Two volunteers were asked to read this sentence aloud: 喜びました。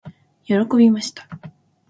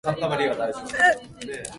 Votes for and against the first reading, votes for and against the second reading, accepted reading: 2, 0, 0, 2, first